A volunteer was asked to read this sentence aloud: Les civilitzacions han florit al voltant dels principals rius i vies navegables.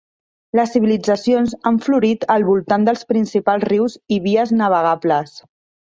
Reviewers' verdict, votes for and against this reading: accepted, 3, 0